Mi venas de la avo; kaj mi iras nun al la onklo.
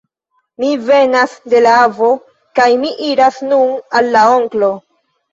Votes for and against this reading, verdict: 2, 1, accepted